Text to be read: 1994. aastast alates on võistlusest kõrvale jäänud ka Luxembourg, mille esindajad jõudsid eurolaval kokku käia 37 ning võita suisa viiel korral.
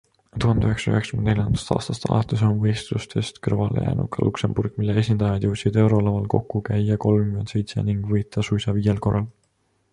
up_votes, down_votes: 0, 2